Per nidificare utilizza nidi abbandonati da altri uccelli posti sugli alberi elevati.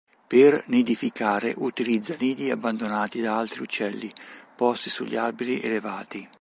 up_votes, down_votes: 2, 0